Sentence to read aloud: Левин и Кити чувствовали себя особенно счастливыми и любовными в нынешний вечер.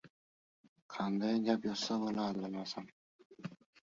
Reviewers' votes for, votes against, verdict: 0, 2, rejected